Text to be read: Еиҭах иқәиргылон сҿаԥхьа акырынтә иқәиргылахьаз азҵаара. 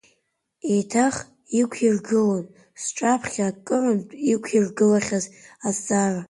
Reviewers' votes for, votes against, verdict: 2, 0, accepted